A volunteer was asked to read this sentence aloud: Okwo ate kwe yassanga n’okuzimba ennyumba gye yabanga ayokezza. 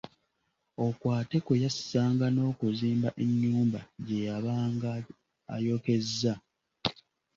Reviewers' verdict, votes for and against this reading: accepted, 2, 0